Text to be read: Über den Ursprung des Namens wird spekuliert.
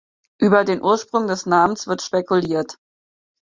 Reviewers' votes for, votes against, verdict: 4, 0, accepted